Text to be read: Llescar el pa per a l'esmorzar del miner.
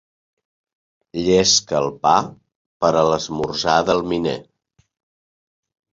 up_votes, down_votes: 1, 2